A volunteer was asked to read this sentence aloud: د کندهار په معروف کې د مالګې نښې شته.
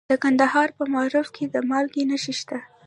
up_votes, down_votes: 1, 2